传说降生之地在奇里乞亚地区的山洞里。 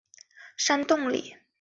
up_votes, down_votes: 0, 2